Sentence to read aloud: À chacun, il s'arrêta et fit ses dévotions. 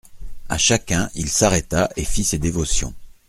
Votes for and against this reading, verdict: 2, 0, accepted